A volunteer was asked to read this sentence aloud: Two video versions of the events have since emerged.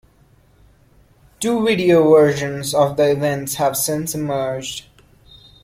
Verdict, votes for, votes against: accepted, 2, 0